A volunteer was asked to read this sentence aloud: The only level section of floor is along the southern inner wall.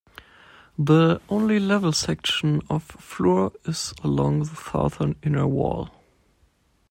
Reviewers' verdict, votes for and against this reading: accepted, 2, 0